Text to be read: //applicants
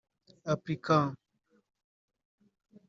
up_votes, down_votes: 1, 2